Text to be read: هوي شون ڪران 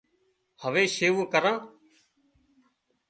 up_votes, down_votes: 0, 2